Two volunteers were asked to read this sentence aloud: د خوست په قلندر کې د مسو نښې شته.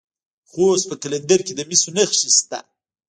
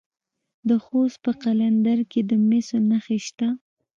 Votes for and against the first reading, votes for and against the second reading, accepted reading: 1, 2, 2, 1, second